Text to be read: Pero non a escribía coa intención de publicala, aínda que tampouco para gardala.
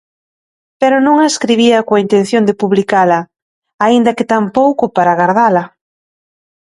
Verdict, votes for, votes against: accepted, 2, 0